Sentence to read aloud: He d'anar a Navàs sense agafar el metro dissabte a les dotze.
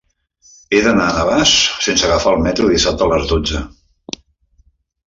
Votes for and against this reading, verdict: 3, 0, accepted